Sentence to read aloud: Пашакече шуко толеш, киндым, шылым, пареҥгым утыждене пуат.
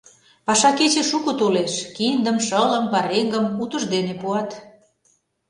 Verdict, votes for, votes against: accepted, 2, 0